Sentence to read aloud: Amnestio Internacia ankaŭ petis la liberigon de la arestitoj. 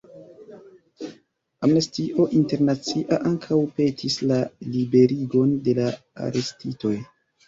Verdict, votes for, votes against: accepted, 2, 0